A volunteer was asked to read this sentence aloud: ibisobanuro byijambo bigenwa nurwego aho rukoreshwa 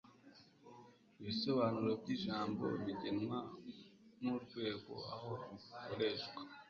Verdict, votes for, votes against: accepted, 2, 0